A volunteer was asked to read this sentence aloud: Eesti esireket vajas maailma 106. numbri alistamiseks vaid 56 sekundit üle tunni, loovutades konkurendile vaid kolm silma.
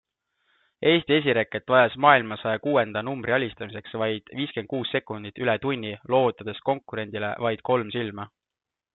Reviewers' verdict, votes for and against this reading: rejected, 0, 2